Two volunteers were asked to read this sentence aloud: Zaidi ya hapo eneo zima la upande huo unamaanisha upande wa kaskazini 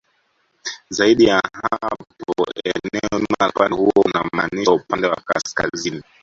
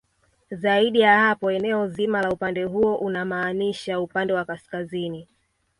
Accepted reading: second